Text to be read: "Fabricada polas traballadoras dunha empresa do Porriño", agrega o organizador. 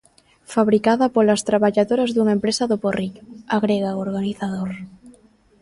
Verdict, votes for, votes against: accepted, 2, 0